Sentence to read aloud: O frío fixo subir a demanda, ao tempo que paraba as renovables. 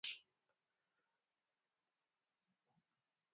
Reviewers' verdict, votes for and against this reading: rejected, 0, 4